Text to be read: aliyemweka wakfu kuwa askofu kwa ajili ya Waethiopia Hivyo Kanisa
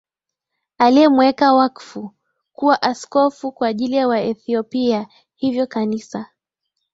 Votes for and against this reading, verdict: 6, 2, accepted